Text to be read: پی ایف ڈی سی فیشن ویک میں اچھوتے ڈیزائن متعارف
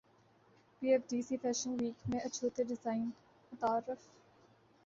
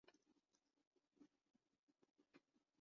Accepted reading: first